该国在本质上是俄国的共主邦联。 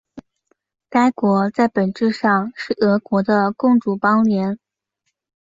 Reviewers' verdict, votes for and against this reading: accepted, 7, 0